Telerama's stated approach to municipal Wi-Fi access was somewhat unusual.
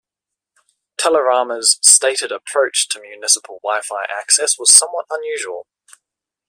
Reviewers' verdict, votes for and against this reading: accepted, 2, 0